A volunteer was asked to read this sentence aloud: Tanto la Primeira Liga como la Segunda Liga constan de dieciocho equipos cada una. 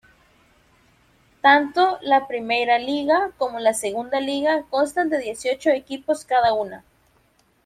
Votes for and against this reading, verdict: 0, 2, rejected